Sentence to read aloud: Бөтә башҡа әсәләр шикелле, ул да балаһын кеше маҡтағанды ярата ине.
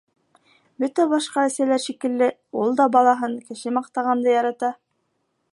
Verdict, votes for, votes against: rejected, 0, 2